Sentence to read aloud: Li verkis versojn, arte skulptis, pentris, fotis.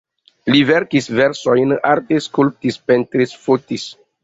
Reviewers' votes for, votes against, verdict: 2, 1, accepted